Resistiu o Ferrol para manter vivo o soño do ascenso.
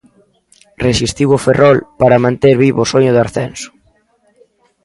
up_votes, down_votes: 2, 0